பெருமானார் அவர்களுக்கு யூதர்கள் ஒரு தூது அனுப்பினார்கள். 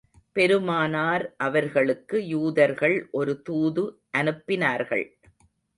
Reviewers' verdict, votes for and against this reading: rejected, 0, 2